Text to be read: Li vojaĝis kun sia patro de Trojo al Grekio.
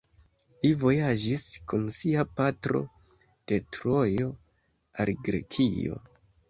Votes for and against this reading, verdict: 2, 0, accepted